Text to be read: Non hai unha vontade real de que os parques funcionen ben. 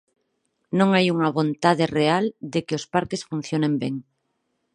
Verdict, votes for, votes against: accepted, 4, 0